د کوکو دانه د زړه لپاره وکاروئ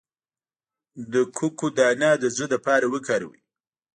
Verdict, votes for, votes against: rejected, 1, 2